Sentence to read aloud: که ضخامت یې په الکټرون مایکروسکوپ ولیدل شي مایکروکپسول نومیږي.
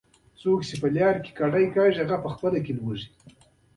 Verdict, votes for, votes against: rejected, 1, 2